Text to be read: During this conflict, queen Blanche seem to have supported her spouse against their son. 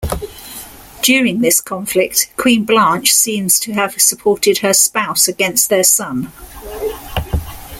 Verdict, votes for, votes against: rejected, 1, 2